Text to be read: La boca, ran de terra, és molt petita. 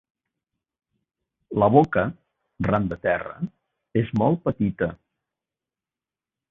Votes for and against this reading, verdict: 2, 0, accepted